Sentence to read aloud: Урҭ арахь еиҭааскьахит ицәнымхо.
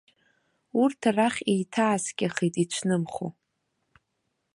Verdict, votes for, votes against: rejected, 0, 2